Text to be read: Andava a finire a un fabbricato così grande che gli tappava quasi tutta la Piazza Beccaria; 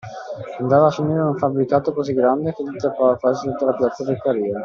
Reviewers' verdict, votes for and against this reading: accepted, 2, 1